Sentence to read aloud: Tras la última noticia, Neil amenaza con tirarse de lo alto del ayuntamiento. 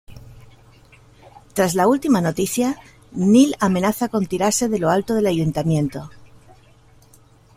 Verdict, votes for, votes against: accepted, 2, 0